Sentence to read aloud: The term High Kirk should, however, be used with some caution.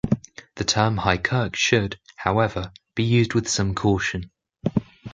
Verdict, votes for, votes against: accepted, 2, 0